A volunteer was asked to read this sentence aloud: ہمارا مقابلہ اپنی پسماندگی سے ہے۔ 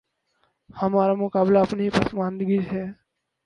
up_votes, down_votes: 4, 6